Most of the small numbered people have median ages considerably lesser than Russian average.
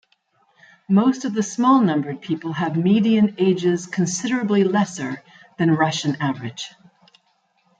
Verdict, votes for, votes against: accepted, 2, 0